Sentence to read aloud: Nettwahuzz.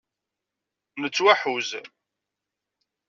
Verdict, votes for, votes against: rejected, 1, 2